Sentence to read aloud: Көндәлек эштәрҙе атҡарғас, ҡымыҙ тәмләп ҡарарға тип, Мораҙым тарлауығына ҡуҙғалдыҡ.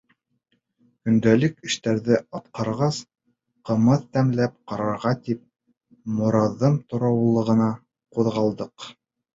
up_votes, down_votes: 2, 0